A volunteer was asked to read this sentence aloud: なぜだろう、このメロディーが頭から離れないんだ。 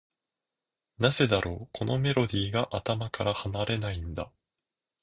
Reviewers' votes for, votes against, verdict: 2, 0, accepted